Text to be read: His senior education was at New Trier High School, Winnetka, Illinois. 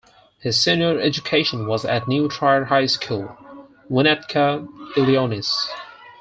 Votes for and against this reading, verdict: 0, 4, rejected